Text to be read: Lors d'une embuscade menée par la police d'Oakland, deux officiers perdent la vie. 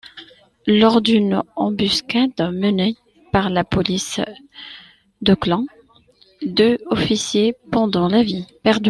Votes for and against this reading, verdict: 0, 2, rejected